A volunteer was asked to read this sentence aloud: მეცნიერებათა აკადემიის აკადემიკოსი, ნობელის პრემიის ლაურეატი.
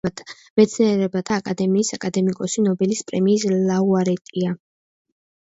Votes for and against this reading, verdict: 1, 2, rejected